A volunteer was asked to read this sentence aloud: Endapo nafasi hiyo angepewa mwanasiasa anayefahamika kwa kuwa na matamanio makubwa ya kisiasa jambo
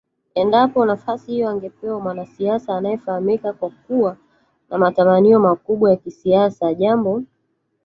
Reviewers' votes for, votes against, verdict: 1, 2, rejected